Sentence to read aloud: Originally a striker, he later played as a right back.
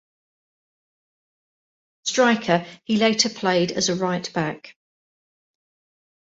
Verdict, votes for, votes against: rejected, 1, 2